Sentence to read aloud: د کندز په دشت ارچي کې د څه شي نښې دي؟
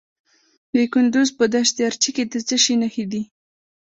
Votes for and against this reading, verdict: 2, 0, accepted